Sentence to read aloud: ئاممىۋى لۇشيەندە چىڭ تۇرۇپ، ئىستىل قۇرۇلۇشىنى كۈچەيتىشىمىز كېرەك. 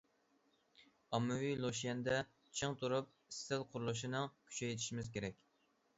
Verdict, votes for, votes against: rejected, 0, 2